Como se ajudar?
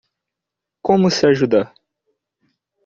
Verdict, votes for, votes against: accepted, 2, 0